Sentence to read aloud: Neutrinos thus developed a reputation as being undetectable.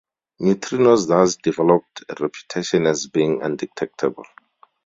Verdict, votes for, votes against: accepted, 2, 0